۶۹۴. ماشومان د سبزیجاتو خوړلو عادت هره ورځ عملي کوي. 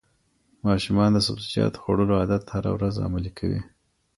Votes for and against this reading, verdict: 0, 2, rejected